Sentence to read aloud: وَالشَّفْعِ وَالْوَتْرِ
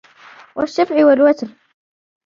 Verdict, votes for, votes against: accepted, 2, 0